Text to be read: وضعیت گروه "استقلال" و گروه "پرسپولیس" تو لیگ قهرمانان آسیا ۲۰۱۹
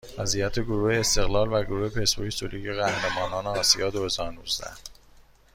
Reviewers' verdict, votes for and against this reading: rejected, 0, 2